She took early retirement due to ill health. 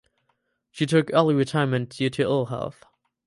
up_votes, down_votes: 4, 0